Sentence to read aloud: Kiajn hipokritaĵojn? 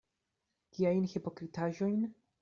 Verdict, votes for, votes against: rejected, 1, 2